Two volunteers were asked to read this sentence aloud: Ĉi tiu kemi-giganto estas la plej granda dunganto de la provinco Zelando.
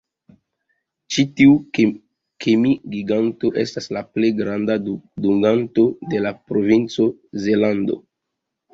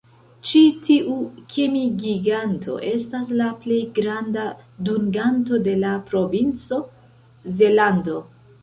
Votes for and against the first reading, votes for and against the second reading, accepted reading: 2, 1, 1, 2, first